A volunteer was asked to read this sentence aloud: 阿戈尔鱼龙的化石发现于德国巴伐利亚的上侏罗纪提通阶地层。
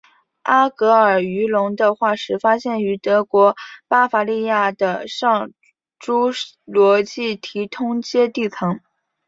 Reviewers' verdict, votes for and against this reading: accepted, 3, 0